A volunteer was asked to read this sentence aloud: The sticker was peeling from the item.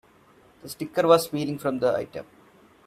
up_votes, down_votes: 2, 0